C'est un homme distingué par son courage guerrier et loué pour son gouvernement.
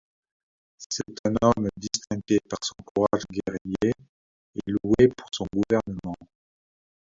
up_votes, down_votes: 1, 2